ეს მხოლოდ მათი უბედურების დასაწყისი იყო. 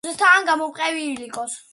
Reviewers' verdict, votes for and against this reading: rejected, 0, 2